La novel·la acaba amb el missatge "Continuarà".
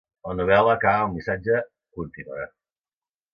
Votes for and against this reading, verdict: 0, 2, rejected